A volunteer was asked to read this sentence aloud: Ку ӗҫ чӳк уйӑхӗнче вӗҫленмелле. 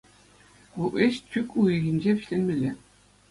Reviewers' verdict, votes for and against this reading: accepted, 2, 0